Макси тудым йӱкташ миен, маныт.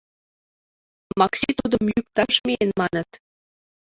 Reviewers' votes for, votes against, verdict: 0, 2, rejected